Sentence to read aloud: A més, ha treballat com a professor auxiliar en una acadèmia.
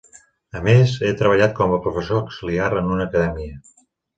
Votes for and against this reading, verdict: 0, 2, rejected